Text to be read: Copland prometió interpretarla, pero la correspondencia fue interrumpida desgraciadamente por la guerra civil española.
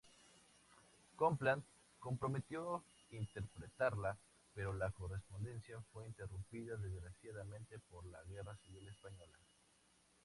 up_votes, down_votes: 2, 0